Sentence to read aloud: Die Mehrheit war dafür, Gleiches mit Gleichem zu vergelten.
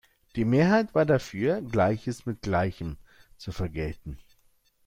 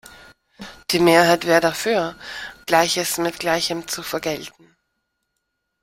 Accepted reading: first